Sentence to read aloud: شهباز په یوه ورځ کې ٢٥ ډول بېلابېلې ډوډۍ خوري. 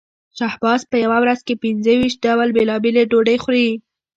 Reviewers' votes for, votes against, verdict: 0, 2, rejected